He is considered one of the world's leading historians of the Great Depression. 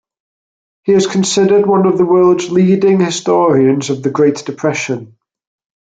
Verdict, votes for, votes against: accepted, 2, 0